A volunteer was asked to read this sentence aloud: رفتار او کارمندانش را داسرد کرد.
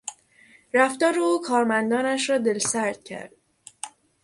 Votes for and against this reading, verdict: 0, 3, rejected